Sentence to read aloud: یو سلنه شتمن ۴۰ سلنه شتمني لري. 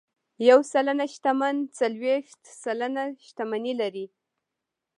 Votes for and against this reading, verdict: 0, 2, rejected